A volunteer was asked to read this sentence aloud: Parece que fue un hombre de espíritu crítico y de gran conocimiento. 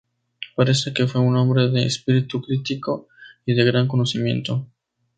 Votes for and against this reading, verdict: 2, 0, accepted